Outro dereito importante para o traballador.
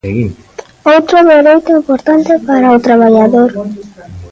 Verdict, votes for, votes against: rejected, 1, 3